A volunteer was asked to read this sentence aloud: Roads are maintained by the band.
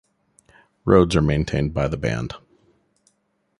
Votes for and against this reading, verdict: 2, 0, accepted